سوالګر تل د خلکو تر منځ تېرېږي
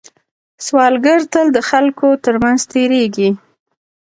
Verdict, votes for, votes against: rejected, 1, 2